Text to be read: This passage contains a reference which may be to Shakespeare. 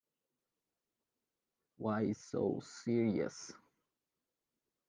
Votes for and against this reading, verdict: 0, 2, rejected